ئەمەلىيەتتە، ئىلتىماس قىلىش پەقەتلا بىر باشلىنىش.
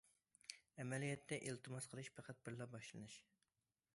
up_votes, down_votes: 0, 2